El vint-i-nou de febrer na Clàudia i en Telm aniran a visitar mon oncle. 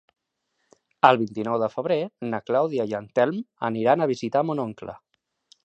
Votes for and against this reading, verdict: 2, 0, accepted